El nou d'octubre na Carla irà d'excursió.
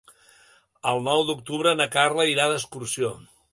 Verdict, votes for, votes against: accepted, 2, 0